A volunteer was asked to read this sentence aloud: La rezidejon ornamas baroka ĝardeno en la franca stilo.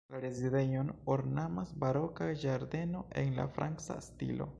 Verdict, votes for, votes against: rejected, 0, 2